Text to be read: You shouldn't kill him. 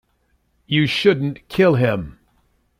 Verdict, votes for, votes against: accepted, 2, 0